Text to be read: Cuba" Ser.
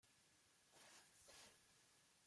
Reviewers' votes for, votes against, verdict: 0, 2, rejected